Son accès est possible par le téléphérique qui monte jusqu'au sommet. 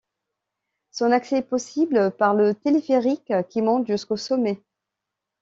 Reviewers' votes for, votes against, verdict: 2, 0, accepted